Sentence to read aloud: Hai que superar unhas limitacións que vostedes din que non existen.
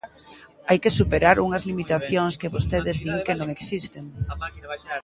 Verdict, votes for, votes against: accepted, 2, 1